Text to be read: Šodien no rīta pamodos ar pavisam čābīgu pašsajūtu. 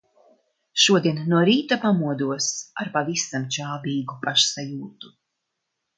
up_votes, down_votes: 2, 0